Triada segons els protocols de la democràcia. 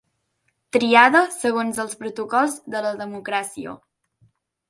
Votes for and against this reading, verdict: 3, 0, accepted